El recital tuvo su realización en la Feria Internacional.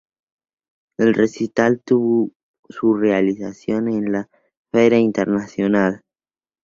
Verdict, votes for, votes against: accepted, 2, 0